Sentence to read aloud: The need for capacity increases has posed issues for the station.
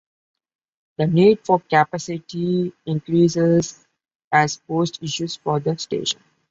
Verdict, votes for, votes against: accepted, 3, 1